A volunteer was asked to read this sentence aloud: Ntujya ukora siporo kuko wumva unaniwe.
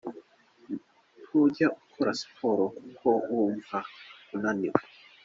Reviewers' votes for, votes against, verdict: 2, 0, accepted